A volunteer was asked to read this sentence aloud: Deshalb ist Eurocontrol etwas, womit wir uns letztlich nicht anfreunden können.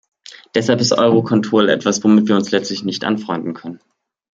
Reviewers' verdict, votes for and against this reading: accepted, 2, 0